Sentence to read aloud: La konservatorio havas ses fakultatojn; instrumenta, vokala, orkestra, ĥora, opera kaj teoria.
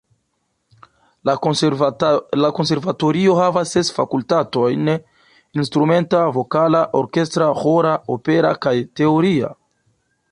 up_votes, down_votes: 2, 3